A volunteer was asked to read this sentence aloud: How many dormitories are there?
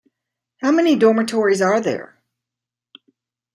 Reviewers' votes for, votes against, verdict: 2, 0, accepted